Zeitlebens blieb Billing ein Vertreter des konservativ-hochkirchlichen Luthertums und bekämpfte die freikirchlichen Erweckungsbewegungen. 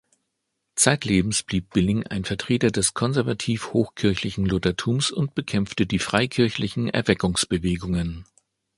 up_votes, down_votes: 2, 0